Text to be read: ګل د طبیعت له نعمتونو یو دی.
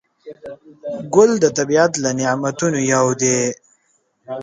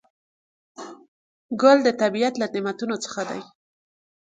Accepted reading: first